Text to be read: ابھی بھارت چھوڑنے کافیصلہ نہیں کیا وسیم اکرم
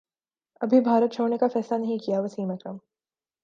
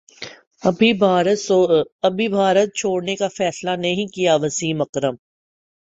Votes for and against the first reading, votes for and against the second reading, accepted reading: 2, 0, 1, 3, first